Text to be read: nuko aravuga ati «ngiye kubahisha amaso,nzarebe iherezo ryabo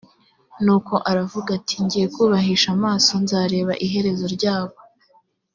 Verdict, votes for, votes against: accepted, 2, 0